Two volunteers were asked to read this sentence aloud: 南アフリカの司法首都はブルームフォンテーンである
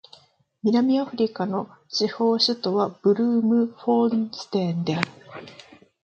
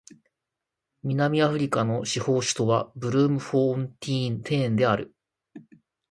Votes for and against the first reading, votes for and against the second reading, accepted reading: 1, 3, 3, 0, second